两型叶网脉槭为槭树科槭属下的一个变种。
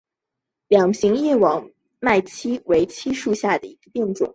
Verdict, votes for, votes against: accepted, 2, 1